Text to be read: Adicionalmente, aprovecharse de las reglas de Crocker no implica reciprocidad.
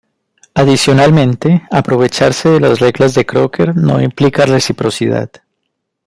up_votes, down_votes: 2, 0